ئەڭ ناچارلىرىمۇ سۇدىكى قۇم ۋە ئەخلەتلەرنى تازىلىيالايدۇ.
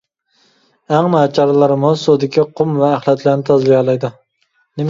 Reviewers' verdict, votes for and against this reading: rejected, 0, 2